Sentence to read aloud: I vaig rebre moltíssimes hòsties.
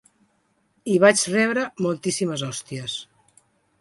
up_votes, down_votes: 2, 0